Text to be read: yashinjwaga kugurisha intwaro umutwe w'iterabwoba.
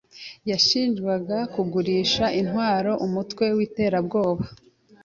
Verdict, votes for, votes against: accepted, 2, 0